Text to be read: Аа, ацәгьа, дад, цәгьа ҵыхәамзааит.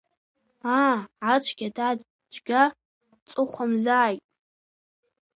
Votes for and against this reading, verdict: 2, 1, accepted